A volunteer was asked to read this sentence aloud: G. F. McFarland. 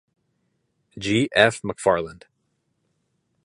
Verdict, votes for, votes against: accepted, 2, 0